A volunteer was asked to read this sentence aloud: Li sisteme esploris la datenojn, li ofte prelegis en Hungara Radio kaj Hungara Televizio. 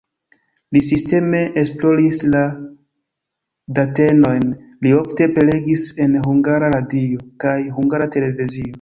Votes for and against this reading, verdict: 0, 2, rejected